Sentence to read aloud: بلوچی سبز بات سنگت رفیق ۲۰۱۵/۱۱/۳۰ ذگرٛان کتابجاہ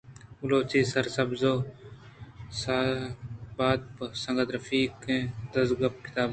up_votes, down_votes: 0, 2